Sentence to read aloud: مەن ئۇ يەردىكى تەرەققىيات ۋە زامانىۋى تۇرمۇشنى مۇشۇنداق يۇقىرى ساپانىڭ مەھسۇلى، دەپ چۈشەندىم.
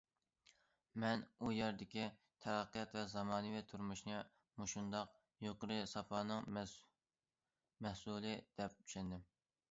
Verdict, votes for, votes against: rejected, 0, 2